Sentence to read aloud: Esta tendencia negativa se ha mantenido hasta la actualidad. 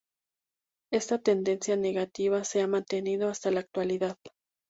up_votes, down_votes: 2, 0